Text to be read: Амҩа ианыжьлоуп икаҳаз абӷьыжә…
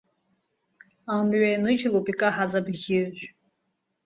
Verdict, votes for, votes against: accepted, 2, 0